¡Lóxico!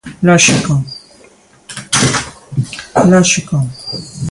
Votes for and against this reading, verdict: 1, 2, rejected